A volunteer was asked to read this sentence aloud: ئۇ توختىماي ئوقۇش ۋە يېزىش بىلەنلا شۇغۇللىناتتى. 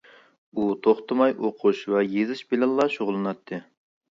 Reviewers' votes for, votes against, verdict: 2, 0, accepted